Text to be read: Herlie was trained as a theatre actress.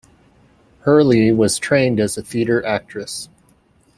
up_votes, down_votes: 2, 0